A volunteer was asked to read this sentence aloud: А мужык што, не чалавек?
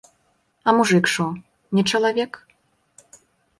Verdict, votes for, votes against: rejected, 0, 2